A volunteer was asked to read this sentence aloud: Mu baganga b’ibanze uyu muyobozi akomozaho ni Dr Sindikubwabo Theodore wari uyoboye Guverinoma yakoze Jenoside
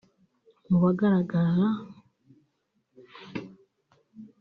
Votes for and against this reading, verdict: 0, 2, rejected